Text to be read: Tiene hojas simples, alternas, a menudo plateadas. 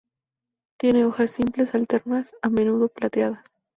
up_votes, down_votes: 2, 0